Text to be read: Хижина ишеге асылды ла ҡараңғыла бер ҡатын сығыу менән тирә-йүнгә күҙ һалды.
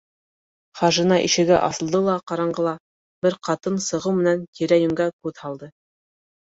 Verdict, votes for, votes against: rejected, 0, 2